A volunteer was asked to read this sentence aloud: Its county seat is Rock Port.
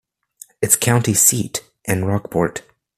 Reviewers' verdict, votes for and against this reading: rejected, 0, 2